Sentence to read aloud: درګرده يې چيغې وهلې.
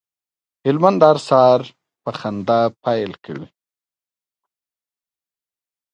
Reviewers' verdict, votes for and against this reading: rejected, 1, 2